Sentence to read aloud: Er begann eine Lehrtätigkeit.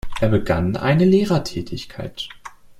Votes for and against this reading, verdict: 1, 2, rejected